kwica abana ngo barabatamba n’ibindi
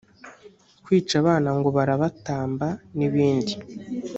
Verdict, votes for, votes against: accepted, 2, 0